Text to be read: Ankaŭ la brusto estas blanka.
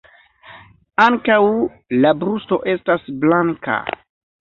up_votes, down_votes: 1, 2